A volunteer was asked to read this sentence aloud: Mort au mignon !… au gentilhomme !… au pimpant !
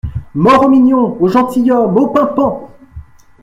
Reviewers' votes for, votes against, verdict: 2, 0, accepted